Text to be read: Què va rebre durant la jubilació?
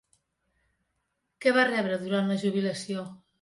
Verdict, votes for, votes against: accepted, 3, 0